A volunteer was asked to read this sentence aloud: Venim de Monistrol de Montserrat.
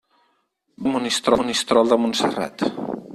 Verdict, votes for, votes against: rejected, 0, 4